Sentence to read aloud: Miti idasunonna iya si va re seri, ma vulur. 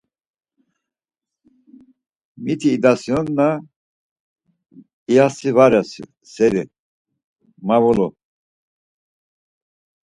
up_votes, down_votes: 2, 4